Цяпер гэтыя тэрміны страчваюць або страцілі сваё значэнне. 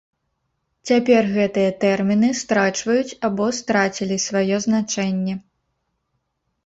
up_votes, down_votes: 2, 0